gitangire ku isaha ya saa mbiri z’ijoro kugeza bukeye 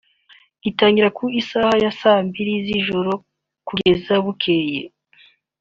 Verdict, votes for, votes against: rejected, 0, 2